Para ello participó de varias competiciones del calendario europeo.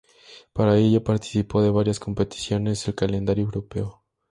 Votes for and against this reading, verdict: 2, 0, accepted